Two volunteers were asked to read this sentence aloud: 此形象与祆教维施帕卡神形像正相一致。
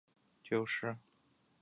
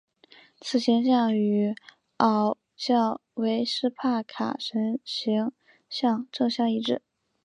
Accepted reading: second